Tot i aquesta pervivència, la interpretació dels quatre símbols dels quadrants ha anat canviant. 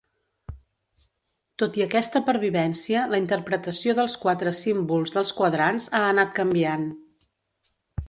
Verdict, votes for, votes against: accepted, 2, 0